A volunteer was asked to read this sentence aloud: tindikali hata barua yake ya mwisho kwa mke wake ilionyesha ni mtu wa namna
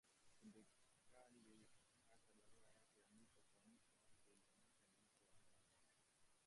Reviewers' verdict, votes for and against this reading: rejected, 1, 3